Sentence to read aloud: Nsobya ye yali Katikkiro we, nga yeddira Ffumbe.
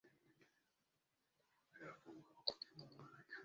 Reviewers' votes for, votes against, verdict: 0, 2, rejected